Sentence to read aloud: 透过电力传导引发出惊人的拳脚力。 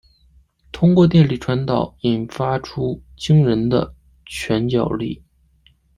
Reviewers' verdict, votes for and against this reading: accepted, 2, 0